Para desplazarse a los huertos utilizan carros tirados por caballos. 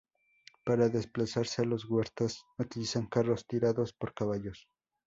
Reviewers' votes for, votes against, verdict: 2, 0, accepted